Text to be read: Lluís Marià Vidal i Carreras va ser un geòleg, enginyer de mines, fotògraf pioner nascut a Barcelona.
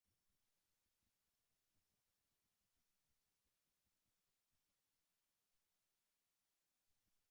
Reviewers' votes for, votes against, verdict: 0, 3, rejected